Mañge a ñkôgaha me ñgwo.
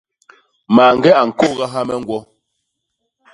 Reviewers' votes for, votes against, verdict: 2, 0, accepted